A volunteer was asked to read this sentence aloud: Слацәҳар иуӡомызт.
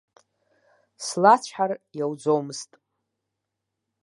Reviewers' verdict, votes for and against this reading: rejected, 1, 2